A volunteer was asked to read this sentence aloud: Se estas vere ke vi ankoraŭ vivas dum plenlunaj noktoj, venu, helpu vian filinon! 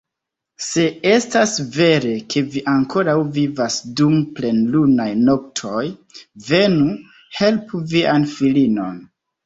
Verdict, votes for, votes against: accepted, 2, 0